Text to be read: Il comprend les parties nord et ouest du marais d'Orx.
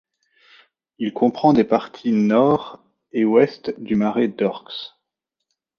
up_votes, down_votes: 0, 2